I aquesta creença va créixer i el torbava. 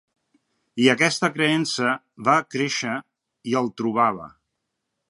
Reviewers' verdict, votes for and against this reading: rejected, 0, 2